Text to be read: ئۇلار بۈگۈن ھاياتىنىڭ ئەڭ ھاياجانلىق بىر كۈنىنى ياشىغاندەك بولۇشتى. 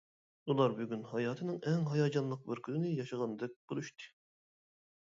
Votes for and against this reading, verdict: 2, 0, accepted